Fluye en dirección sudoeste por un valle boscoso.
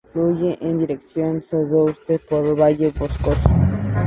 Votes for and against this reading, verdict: 4, 0, accepted